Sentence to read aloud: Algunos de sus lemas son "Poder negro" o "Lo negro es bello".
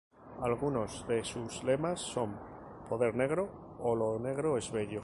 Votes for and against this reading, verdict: 0, 2, rejected